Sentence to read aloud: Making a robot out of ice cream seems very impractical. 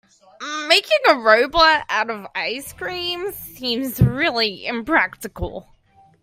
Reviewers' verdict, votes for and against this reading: rejected, 0, 2